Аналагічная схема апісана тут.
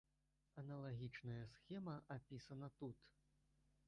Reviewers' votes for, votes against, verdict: 2, 3, rejected